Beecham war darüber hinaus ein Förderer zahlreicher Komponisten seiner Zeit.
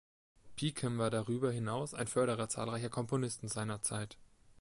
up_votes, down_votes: 2, 0